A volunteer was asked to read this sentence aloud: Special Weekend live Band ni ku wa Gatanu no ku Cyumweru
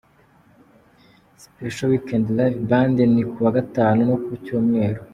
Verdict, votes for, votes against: accepted, 2, 0